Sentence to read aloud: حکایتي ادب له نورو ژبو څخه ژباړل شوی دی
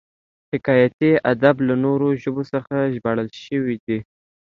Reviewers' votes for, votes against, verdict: 2, 0, accepted